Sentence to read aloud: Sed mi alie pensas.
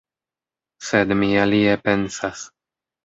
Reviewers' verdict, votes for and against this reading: accepted, 2, 0